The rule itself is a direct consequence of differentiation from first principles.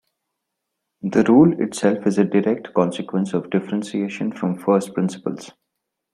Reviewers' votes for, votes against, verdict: 1, 2, rejected